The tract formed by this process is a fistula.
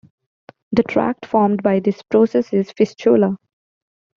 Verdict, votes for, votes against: rejected, 1, 2